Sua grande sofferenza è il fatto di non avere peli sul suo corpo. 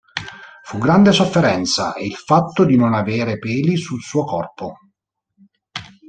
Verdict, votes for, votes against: rejected, 0, 3